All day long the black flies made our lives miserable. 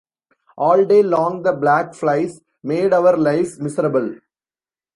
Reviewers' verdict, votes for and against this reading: accepted, 2, 0